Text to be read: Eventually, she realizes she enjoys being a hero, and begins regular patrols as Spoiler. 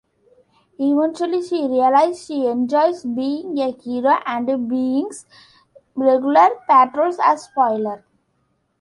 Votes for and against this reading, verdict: 1, 2, rejected